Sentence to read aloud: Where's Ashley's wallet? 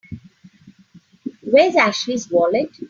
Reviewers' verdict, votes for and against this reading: accepted, 3, 0